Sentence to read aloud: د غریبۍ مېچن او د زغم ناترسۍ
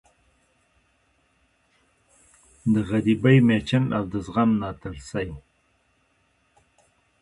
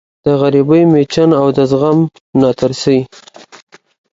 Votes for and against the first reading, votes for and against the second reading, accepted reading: 1, 2, 2, 0, second